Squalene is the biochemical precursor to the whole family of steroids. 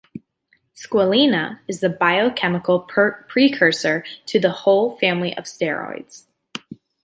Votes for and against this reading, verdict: 0, 2, rejected